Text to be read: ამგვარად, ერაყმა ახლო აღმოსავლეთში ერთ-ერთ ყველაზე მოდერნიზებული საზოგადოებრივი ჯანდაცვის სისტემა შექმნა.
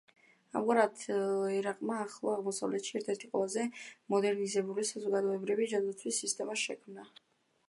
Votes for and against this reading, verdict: 3, 2, accepted